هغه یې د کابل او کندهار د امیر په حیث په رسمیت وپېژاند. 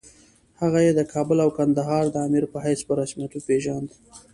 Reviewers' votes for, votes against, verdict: 2, 0, accepted